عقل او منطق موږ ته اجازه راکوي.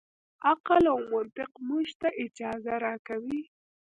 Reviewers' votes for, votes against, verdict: 1, 2, rejected